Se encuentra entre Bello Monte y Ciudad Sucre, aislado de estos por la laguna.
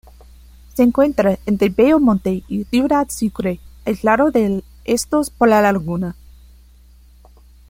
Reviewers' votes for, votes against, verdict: 2, 0, accepted